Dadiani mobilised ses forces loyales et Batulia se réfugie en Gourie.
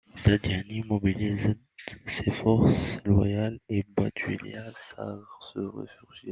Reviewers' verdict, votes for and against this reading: rejected, 1, 2